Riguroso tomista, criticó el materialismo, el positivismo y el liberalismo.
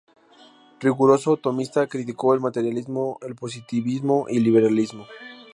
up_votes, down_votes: 4, 0